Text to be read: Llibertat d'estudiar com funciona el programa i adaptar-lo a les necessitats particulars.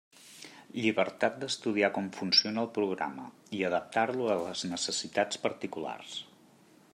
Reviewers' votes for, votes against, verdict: 3, 0, accepted